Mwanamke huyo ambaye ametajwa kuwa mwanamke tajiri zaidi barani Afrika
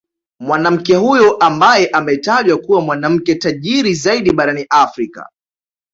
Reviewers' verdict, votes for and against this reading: accepted, 2, 0